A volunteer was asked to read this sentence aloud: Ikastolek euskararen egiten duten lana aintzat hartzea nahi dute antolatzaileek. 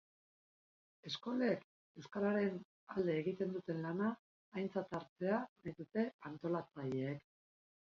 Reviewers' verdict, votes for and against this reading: rejected, 0, 3